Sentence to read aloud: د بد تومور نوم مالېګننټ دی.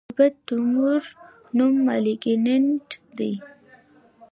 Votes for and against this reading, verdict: 2, 0, accepted